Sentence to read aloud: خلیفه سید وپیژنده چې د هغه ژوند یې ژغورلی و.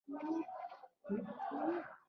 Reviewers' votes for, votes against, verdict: 0, 2, rejected